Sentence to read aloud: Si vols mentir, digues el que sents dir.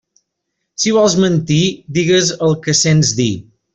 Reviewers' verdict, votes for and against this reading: accepted, 3, 0